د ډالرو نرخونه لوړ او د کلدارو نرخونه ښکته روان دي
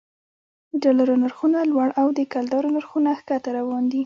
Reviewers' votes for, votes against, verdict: 2, 1, accepted